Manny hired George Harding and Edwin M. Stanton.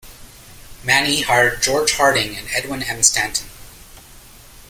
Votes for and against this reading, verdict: 0, 2, rejected